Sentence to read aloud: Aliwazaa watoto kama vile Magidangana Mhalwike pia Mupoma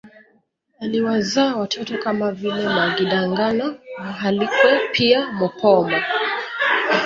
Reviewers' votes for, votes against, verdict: 1, 2, rejected